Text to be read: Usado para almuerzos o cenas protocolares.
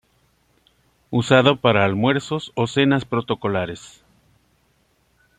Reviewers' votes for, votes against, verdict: 2, 0, accepted